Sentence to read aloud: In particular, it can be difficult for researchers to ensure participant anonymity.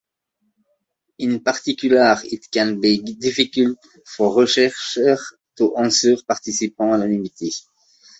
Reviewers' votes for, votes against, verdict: 0, 3, rejected